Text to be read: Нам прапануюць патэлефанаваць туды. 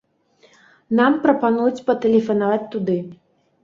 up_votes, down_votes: 2, 0